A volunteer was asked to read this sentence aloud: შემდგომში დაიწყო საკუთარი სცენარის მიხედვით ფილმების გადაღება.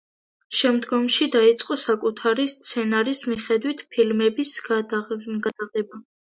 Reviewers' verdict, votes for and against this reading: rejected, 1, 2